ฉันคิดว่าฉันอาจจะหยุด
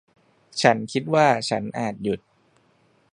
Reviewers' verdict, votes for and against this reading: rejected, 0, 2